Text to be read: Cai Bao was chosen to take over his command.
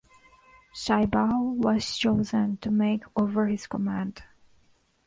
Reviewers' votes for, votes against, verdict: 0, 2, rejected